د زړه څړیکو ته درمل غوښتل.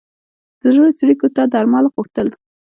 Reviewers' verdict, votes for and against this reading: accepted, 2, 0